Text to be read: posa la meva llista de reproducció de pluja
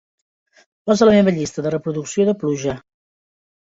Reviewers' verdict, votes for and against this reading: rejected, 1, 2